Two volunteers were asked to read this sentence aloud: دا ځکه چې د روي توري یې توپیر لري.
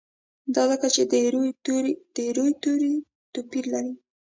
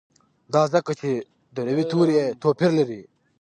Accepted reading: second